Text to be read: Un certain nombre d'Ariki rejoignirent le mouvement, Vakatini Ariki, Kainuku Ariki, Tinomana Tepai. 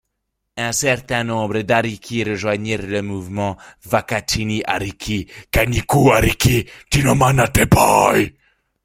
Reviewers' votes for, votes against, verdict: 0, 2, rejected